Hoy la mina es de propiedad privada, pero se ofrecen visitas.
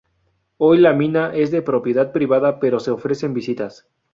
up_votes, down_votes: 2, 0